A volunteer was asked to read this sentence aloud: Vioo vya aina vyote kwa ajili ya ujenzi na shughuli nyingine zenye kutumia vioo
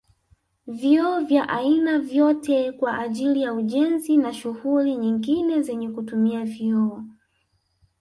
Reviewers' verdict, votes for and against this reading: rejected, 1, 2